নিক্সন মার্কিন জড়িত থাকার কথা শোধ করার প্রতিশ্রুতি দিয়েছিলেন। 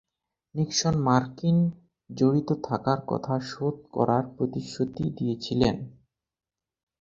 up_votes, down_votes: 4, 4